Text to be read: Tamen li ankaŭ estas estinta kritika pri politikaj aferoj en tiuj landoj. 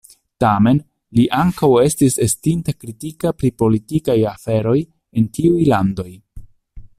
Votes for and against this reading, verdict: 0, 2, rejected